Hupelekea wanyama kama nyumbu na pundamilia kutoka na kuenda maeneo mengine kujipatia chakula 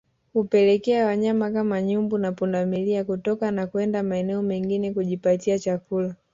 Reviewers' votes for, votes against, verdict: 2, 0, accepted